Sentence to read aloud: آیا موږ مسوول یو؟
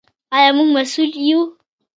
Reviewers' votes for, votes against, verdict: 2, 1, accepted